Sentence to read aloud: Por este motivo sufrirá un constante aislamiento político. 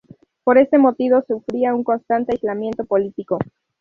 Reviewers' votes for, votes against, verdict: 0, 2, rejected